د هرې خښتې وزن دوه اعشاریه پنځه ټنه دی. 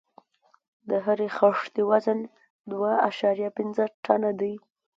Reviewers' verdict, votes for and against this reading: accepted, 2, 0